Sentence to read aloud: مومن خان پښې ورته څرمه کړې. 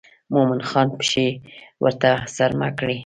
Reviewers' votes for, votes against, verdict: 2, 0, accepted